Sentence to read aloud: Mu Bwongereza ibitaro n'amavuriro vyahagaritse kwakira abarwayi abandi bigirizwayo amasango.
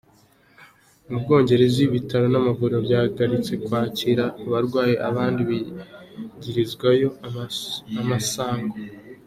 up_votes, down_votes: 2, 0